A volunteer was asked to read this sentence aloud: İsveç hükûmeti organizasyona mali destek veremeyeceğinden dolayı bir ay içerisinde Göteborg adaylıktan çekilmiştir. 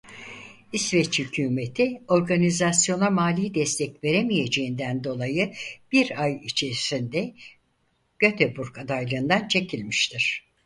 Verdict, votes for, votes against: rejected, 0, 4